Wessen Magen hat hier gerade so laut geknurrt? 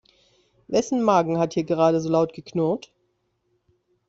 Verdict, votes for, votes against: accepted, 2, 0